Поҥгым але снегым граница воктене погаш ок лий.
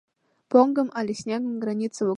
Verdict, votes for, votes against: rejected, 0, 2